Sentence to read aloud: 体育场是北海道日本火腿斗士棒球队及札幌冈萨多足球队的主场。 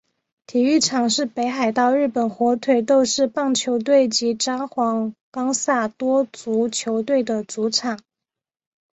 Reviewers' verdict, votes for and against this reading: accepted, 2, 1